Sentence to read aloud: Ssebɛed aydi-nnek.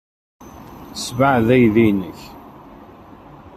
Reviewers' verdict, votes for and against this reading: rejected, 1, 2